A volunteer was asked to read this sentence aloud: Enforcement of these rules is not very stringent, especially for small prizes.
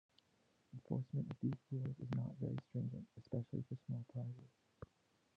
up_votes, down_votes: 0, 2